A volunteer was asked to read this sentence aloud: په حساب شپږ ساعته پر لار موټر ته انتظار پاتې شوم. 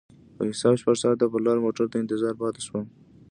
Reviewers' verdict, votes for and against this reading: accepted, 2, 0